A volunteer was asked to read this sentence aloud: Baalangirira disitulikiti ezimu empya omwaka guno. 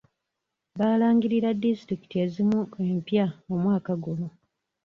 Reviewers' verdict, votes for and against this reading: accepted, 2, 0